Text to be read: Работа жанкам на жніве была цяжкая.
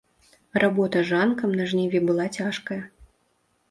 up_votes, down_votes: 3, 1